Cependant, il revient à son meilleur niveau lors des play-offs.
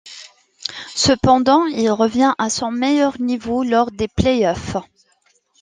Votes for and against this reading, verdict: 2, 0, accepted